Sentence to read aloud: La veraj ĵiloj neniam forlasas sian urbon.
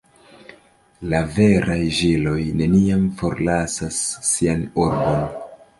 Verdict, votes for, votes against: rejected, 1, 2